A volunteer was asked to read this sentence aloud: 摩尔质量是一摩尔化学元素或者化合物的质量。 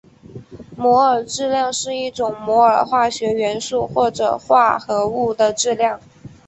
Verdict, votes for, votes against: accepted, 2, 1